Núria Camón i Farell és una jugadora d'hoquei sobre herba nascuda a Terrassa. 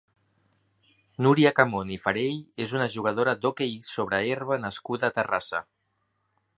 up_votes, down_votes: 0, 2